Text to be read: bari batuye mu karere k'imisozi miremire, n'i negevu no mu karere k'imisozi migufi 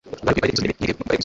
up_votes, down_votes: 2, 1